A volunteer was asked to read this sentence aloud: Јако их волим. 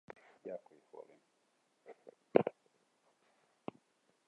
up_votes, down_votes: 0, 2